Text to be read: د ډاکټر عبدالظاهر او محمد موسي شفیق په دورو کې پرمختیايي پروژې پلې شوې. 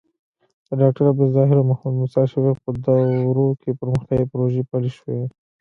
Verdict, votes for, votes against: rejected, 1, 2